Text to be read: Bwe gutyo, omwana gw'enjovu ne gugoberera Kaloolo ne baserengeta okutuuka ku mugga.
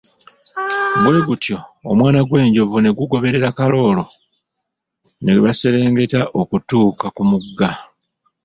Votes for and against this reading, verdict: 1, 2, rejected